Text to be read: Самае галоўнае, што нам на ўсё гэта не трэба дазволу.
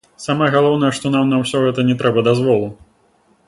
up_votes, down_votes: 0, 2